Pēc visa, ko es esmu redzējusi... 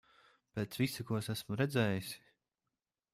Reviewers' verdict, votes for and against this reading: accepted, 2, 0